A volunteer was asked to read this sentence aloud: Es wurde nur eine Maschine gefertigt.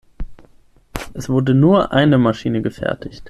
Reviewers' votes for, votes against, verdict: 6, 0, accepted